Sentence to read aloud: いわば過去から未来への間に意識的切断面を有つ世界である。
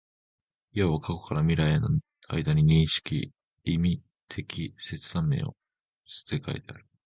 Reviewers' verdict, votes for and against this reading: rejected, 0, 2